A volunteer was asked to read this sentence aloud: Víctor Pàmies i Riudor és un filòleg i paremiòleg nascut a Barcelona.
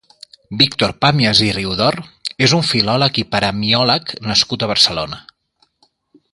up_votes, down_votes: 2, 0